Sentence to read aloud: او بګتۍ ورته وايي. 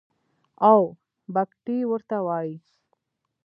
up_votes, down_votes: 1, 2